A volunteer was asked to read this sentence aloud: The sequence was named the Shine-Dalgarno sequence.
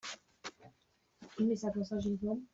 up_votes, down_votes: 0, 2